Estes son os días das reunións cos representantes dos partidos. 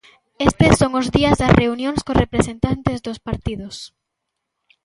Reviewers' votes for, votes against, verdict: 2, 0, accepted